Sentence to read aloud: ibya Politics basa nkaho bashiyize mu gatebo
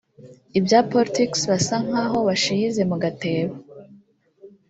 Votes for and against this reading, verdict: 2, 0, accepted